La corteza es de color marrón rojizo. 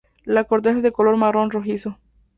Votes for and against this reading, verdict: 2, 0, accepted